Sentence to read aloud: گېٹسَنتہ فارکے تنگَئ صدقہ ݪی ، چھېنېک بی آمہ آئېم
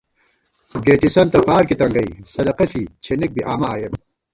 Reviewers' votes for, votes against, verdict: 1, 2, rejected